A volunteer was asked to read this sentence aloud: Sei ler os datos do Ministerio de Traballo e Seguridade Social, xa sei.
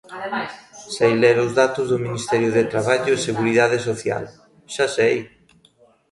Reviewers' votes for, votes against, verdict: 1, 2, rejected